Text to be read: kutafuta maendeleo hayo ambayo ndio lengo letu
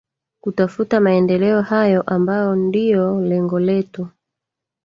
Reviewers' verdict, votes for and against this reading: rejected, 0, 2